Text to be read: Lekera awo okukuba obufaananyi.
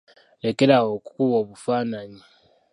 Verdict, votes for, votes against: accepted, 2, 0